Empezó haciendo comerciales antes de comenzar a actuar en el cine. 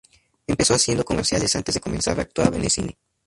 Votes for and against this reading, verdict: 2, 2, rejected